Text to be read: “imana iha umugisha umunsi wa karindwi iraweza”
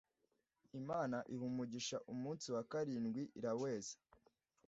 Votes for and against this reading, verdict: 2, 0, accepted